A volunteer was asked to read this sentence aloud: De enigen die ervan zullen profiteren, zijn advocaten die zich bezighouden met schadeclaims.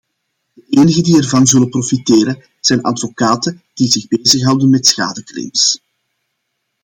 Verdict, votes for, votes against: accepted, 2, 0